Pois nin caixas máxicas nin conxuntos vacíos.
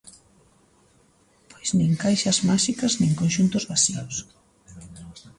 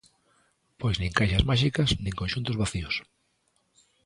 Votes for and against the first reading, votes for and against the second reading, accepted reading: 1, 2, 2, 0, second